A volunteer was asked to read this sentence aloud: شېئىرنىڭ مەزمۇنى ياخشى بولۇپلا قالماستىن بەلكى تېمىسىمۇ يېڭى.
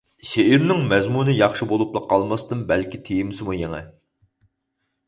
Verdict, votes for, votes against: accepted, 4, 0